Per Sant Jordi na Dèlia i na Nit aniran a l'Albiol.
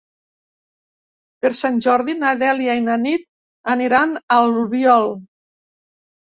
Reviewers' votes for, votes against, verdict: 1, 2, rejected